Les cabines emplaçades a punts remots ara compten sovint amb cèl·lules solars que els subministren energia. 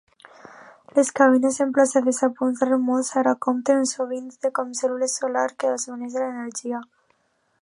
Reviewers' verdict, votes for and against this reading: rejected, 0, 2